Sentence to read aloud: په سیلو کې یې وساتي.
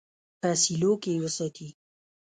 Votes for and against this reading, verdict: 0, 3, rejected